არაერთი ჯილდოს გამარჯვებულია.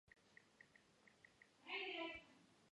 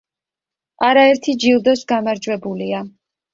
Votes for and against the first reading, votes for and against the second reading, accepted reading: 1, 2, 2, 0, second